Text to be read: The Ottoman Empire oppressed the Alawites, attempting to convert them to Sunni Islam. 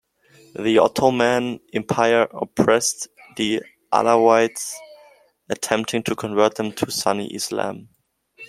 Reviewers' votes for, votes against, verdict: 1, 2, rejected